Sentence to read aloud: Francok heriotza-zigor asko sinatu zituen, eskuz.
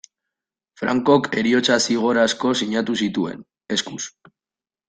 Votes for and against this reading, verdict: 1, 2, rejected